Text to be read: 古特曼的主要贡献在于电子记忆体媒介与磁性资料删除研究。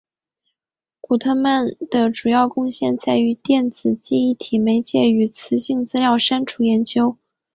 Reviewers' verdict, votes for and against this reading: accepted, 3, 0